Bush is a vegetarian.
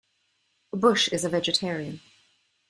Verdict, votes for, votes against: accepted, 2, 0